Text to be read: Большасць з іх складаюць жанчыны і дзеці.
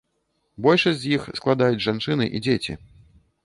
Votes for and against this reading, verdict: 2, 0, accepted